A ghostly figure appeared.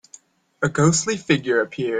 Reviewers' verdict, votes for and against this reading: accepted, 2, 0